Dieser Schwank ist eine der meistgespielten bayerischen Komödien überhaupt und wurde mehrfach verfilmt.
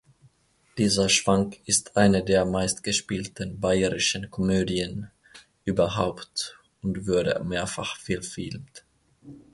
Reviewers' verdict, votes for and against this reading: rejected, 0, 2